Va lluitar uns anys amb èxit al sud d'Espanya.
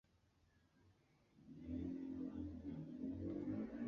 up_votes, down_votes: 1, 2